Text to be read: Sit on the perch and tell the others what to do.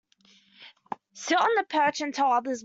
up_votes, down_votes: 0, 2